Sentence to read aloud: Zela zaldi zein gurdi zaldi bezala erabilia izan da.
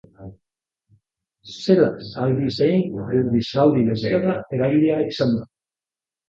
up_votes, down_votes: 1, 2